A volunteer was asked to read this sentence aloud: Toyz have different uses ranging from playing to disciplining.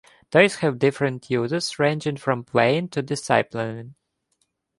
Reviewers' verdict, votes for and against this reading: rejected, 1, 2